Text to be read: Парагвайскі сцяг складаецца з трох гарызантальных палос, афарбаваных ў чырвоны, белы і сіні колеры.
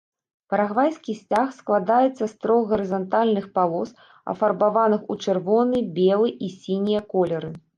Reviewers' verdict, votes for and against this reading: rejected, 1, 2